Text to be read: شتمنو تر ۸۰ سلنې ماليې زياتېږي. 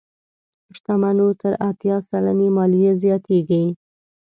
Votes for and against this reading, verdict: 0, 2, rejected